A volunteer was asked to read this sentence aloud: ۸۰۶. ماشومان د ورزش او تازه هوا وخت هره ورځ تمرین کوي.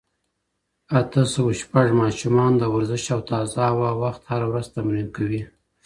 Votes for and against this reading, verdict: 0, 2, rejected